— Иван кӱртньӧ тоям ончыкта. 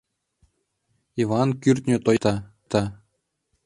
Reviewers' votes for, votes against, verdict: 0, 2, rejected